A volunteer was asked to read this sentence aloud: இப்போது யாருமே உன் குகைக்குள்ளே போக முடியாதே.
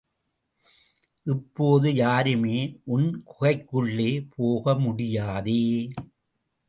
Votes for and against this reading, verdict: 2, 0, accepted